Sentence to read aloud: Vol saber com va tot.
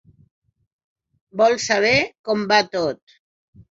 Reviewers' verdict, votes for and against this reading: accepted, 6, 0